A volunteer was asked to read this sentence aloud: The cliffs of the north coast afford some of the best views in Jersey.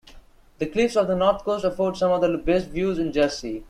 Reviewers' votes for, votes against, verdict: 2, 0, accepted